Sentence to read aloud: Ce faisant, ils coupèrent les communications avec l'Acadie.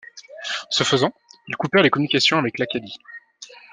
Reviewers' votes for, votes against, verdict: 2, 0, accepted